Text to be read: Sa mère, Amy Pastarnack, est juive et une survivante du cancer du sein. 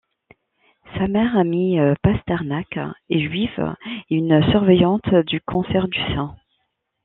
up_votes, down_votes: 0, 2